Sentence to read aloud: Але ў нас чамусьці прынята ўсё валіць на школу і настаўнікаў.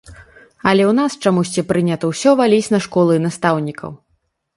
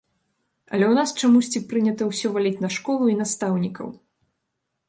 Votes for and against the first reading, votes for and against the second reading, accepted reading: 2, 0, 1, 2, first